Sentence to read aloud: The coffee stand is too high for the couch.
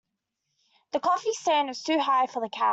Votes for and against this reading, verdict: 1, 2, rejected